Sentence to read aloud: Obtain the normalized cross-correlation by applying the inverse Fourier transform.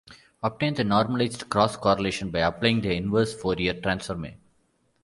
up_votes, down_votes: 1, 2